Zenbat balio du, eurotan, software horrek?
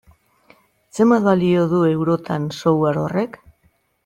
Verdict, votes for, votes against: accepted, 2, 0